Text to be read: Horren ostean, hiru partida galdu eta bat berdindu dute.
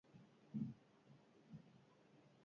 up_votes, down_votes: 0, 4